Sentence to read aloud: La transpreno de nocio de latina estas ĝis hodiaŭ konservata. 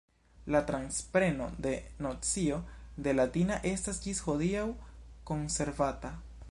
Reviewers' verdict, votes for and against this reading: rejected, 1, 2